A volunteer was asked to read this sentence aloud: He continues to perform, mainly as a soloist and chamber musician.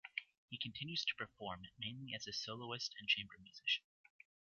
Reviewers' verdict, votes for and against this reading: rejected, 1, 2